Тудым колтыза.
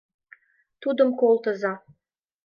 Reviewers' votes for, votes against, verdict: 2, 0, accepted